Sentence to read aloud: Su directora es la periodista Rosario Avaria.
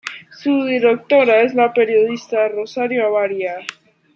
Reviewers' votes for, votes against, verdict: 2, 0, accepted